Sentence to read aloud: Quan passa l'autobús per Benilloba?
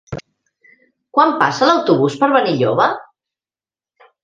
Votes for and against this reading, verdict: 3, 0, accepted